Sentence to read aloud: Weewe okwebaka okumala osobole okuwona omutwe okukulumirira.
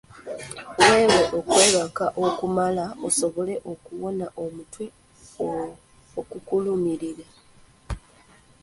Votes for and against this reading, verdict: 2, 1, accepted